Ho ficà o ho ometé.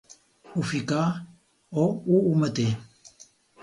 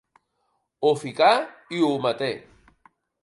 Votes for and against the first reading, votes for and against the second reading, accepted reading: 4, 0, 0, 4, first